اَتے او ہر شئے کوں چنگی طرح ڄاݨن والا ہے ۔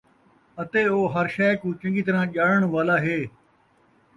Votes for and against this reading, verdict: 2, 0, accepted